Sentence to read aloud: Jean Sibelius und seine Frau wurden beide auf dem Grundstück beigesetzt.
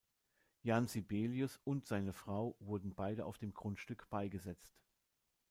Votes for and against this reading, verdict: 0, 2, rejected